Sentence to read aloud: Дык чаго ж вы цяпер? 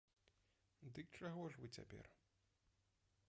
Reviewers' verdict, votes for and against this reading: rejected, 0, 2